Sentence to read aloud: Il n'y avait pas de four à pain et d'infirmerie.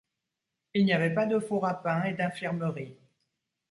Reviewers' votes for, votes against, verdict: 2, 0, accepted